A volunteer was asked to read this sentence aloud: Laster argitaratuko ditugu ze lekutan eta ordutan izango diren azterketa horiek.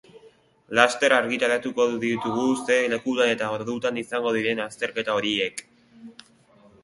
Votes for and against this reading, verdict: 0, 2, rejected